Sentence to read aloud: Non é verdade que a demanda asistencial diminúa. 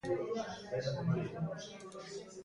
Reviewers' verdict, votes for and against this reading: rejected, 0, 2